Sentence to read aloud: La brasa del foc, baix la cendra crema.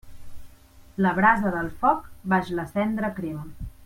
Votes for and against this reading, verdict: 2, 0, accepted